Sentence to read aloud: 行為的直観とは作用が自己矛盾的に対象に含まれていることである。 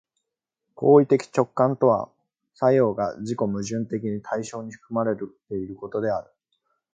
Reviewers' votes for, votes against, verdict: 1, 2, rejected